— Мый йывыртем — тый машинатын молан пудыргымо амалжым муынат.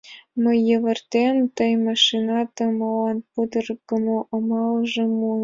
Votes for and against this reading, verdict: 2, 1, accepted